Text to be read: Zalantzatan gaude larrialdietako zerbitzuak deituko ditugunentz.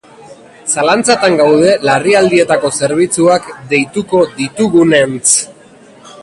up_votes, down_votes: 2, 0